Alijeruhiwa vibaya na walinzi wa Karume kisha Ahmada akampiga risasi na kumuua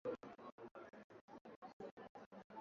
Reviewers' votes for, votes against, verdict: 0, 2, rejected